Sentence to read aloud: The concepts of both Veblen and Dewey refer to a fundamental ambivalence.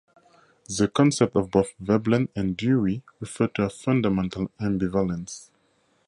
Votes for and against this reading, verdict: 2, 2, rejected